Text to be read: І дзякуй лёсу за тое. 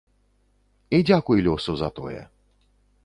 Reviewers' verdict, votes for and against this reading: accepted, 2, 0